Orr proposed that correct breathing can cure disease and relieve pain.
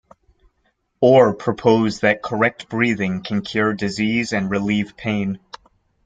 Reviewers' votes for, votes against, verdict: 2, 0, accepted